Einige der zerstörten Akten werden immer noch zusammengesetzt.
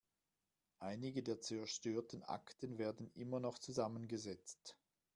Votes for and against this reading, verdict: 1, 2, rejected